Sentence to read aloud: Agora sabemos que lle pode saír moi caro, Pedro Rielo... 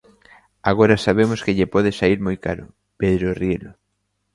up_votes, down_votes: 2, 1